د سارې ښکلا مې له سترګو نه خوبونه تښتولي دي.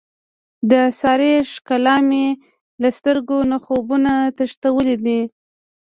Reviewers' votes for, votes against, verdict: 1, 2, rejected